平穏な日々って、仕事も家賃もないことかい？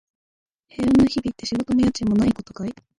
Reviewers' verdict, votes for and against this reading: rejected, 1, 2